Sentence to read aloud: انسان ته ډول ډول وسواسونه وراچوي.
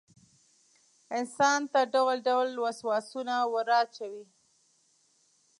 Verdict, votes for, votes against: accepted, 2, 0